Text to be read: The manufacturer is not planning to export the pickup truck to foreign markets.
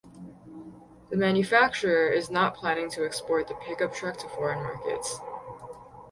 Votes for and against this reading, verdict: 0, 2, rejected